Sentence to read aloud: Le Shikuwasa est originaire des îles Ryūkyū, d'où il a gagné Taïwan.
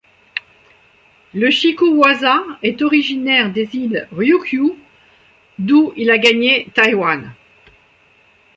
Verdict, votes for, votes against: accepted, 2, 1